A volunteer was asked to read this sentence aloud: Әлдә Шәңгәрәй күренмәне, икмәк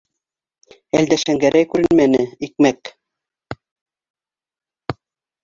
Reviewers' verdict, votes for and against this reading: rejected, 1, 2